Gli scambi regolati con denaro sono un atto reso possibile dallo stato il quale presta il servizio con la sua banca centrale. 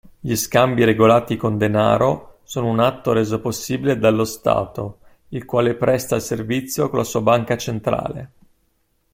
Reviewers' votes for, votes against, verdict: 2, 0, accepted